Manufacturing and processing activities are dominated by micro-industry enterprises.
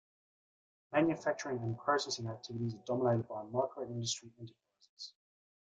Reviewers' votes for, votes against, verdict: 2, 1, accepted